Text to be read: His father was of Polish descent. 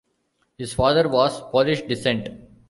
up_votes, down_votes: 0, 2